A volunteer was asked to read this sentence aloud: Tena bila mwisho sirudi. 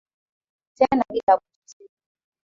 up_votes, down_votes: 0, 3